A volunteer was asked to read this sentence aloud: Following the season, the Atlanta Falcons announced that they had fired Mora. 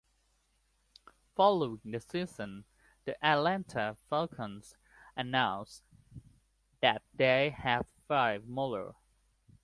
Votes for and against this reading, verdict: 1, 2, rejected